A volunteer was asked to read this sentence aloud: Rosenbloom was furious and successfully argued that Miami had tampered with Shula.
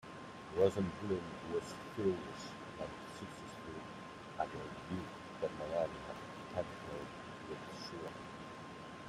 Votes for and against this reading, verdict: 0, 2, rejected